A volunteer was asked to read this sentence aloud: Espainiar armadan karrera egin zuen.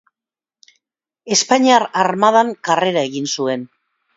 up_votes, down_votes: 2, 0